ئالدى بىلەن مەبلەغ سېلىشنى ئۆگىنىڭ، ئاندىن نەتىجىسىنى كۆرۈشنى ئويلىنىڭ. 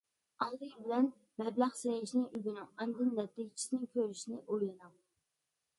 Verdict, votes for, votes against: rejected, 1, 2